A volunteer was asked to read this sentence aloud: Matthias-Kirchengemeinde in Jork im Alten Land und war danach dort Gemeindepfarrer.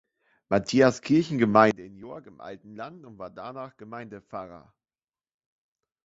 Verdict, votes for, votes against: rejected, 0, 2